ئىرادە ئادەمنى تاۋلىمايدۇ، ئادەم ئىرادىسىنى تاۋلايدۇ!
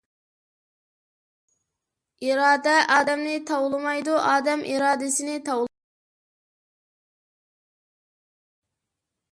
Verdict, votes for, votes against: rejected, 0, 2